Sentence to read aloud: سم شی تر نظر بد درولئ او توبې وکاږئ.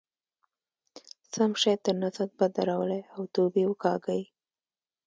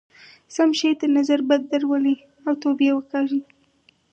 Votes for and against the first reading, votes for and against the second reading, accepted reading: 2, 0, 2, 2, first